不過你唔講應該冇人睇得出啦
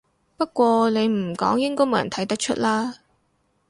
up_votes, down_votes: 4, 0